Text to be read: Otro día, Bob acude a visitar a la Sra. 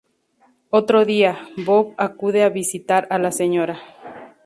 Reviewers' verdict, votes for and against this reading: rejected, 0, 2